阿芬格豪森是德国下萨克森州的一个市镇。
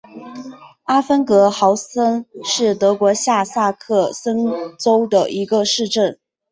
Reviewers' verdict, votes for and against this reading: accepted, 2, 0